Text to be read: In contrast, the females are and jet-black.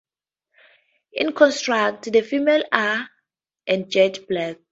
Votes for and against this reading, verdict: 0, 4, rejected